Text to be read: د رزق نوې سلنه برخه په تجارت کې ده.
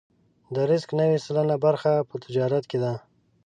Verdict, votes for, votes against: accepted, 2, 0